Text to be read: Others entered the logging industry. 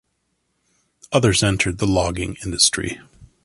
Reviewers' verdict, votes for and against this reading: accepted, 2, 0